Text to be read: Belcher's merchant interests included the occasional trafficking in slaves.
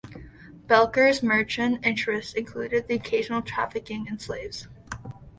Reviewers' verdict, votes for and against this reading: rejected, 1, 2